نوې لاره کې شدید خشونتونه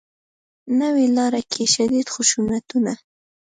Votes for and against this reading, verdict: 2, 0, accepted